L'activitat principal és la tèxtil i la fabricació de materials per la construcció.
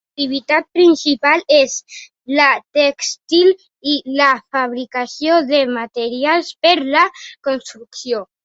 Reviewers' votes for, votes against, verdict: 0, 2, rejected